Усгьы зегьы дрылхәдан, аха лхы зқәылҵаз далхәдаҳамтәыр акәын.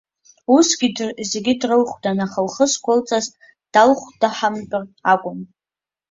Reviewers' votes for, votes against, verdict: 0, 2, rejected